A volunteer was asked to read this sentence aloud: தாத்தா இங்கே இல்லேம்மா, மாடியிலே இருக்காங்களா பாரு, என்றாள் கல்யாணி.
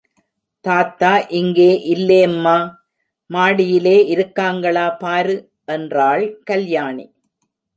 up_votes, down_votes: 2, 0